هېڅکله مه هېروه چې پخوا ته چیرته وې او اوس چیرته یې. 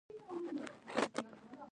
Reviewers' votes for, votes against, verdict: 0, 2, rejected